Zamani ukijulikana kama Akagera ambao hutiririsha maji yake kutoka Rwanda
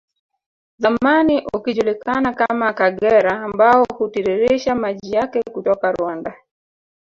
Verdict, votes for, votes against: accepted, 2, 0